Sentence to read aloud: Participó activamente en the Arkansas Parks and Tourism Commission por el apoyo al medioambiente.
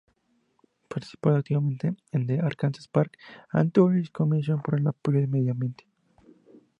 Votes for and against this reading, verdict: 2, 0, accepted